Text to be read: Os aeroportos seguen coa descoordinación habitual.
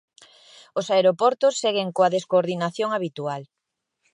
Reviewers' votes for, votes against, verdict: 2, 0, accepted